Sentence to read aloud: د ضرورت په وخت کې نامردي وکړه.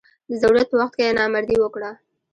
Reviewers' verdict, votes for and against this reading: rejected, 1, 2